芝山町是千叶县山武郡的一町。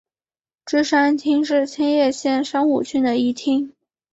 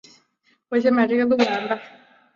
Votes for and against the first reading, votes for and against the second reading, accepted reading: 4, 1, 0, 3, first